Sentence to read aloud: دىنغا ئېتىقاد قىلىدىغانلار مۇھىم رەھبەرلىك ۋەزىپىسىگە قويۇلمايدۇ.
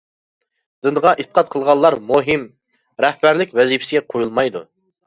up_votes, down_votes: 0, 2